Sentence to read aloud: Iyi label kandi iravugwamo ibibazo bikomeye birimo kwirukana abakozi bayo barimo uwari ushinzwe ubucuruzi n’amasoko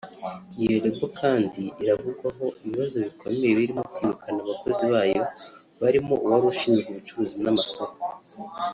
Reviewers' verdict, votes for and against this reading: rejected, 0, 2